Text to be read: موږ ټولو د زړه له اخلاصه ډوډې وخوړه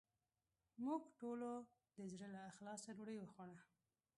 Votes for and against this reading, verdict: 1, 2, rejected